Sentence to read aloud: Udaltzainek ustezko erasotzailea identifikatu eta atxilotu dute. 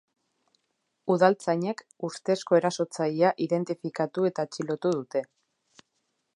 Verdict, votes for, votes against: accepted, 2, 0